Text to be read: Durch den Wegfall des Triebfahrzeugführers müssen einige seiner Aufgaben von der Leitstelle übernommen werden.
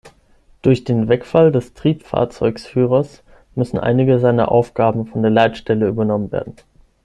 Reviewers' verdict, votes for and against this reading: rejected, 0, 6